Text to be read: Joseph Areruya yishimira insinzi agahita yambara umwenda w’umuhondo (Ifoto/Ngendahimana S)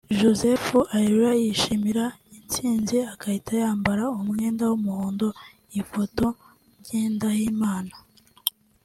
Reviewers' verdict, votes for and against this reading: accepted, 2, 0